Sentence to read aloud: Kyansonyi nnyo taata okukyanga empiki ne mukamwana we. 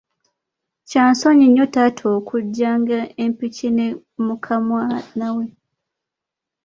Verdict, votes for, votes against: rejected, 0, 2